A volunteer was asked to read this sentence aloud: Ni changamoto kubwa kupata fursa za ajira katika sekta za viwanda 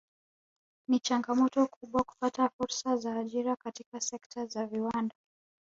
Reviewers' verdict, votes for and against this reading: rejected, 1, 2